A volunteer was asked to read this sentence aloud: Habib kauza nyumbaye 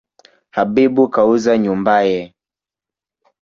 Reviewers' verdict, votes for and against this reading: accepted, 2, 0